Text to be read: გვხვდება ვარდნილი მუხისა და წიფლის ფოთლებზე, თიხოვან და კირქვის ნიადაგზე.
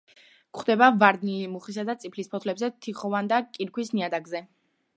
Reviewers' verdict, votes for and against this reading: rejected, 1, 2